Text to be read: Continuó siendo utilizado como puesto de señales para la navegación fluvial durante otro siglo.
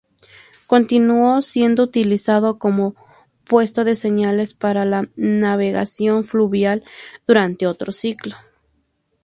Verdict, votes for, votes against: accepted, 2, 0